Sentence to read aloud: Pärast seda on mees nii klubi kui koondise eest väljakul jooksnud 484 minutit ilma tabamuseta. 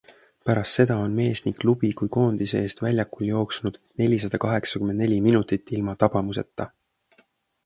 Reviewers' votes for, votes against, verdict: 0, 2, rejected